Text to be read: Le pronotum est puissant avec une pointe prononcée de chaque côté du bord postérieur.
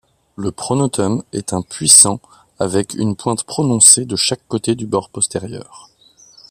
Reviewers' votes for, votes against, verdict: 1, 2, rejected